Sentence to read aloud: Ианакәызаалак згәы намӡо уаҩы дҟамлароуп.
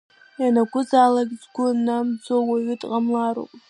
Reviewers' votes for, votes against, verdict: 1, 2, rejected